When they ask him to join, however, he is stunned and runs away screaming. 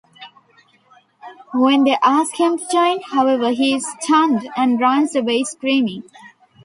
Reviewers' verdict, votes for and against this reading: rejected, 1, 2